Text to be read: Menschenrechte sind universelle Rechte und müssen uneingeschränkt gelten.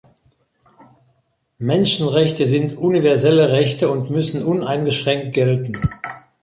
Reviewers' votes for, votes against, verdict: 2, 0, accepted